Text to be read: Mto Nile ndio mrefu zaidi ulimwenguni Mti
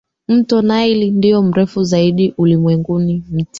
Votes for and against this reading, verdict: 2, 0, accepted